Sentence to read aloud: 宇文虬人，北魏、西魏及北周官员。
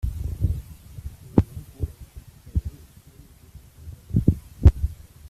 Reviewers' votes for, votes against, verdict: 0, 2, rejected